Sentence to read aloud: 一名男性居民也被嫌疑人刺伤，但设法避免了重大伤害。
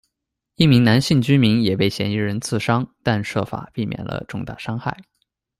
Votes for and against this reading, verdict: 2, 0, accepted